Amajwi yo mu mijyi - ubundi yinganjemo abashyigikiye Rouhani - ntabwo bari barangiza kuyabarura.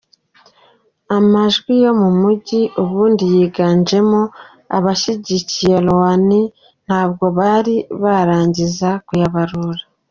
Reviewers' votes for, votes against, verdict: 2, 1, accepted